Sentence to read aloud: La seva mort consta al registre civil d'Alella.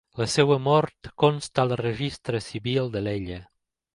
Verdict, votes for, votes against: accepted, 2, 0